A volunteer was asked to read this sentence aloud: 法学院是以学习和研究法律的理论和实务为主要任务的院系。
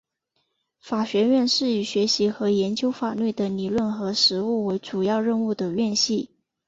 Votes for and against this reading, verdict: 2, 0, accepted